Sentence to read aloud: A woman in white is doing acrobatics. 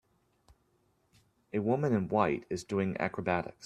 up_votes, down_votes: 2, 0